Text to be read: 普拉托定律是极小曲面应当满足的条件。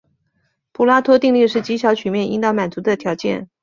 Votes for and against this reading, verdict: 2, 0, accepted